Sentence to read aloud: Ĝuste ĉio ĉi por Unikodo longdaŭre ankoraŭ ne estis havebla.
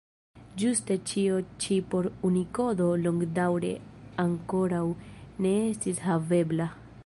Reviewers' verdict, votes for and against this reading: accepted, 2, 1